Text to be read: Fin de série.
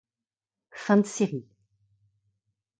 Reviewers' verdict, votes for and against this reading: rejected, 1, 2